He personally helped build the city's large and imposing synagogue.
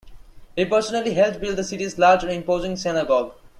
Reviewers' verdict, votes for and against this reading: rejected, 1, 2